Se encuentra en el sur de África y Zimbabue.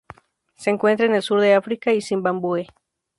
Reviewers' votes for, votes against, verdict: 0, 2, rejected